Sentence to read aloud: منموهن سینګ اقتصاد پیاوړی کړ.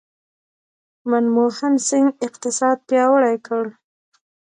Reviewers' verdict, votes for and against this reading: rejected, 0, 2